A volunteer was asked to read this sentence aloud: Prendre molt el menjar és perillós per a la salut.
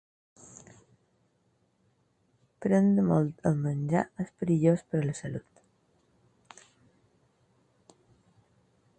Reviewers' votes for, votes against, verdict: 2, 4, rejected